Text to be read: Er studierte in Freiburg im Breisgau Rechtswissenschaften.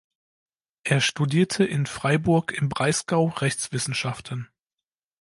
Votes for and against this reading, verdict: 2, 0, accepted